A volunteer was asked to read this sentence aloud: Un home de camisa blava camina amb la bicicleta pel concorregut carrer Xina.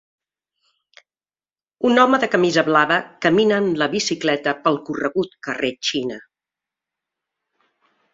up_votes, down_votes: 0, 2